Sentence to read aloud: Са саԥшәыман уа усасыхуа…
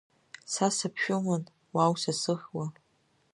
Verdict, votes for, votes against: rejected, 0, 2